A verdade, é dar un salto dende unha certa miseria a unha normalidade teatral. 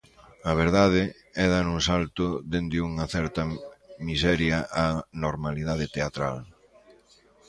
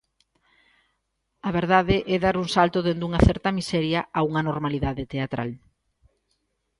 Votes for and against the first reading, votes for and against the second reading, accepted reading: 0, 2, 3, 0, second